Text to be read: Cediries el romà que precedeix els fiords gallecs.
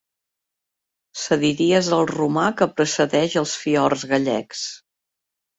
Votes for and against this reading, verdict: 2, 0, accepted